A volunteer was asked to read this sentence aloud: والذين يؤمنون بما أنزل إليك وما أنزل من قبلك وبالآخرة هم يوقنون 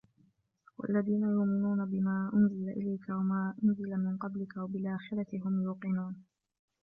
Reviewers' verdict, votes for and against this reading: accepted, 2, 1